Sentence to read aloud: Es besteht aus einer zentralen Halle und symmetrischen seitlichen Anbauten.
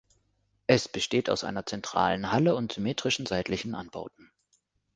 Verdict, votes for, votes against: accepted, 2, 1